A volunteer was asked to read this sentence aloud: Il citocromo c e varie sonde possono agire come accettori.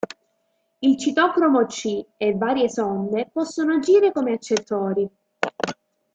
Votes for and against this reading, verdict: 0, 2, rejected